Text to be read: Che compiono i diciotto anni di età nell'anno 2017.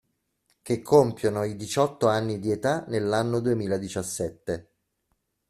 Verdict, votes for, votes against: rejected, 0, 2